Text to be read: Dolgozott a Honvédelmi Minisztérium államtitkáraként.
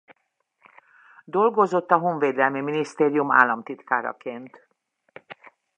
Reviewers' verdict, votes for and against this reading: accepted, 2, 0